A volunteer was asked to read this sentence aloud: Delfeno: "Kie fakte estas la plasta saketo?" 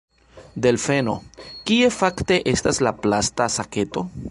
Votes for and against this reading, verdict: 3, 2, accepted